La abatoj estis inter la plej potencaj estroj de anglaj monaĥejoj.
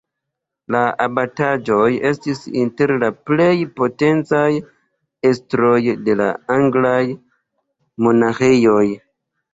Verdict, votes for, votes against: rejected, 1, 2